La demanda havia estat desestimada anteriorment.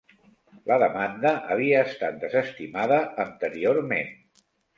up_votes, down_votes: 2, 0